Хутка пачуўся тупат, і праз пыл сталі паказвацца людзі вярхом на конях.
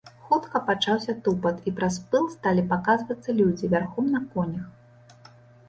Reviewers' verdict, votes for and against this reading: rejected, 1, 2